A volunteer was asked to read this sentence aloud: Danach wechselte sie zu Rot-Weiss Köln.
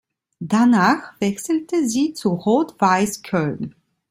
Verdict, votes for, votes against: accepted, 2, 0